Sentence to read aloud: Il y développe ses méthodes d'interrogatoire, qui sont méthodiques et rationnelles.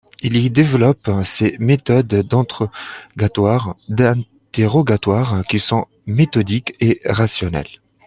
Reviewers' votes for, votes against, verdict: 0, 2, rejected